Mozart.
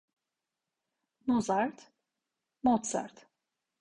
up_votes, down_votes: 1, 2